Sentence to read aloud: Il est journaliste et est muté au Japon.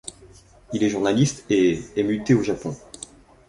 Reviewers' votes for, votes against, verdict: 2, 0, accepted